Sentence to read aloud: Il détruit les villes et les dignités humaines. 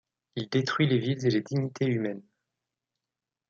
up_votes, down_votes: 0, 2